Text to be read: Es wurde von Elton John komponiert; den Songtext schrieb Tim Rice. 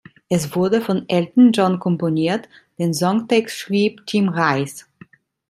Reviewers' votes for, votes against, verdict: 2, 0, accepted